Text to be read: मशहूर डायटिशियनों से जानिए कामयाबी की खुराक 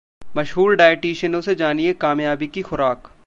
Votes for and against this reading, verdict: 2, 0, accepted